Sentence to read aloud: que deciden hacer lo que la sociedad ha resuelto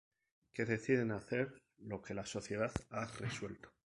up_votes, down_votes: 0, 4